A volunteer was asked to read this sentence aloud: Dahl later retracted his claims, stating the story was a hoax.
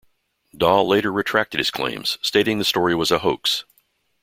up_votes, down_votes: 2, 0